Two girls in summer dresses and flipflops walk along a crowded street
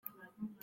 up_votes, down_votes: 0, 2